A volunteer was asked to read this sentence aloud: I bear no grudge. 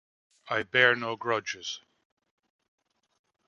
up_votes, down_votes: 0, 2